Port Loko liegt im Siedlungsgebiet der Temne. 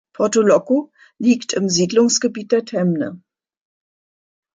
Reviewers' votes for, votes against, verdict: 0, 2, rejected